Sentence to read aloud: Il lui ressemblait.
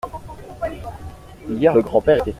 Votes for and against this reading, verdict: 1, 2, rejected